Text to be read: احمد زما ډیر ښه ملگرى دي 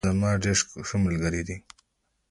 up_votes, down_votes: 2, 1